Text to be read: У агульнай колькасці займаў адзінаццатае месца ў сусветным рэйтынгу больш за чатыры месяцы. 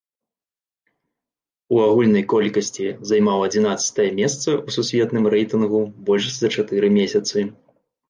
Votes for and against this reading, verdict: 2, 0, accepted